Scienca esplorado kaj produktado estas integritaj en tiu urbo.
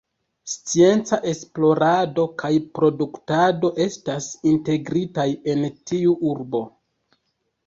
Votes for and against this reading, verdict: 0, 2, rejected